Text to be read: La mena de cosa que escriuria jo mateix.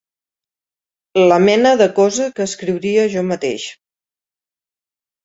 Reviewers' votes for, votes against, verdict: 3, 0, accepted